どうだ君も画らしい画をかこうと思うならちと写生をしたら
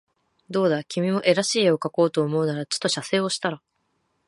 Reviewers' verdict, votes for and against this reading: accepted, 2, 0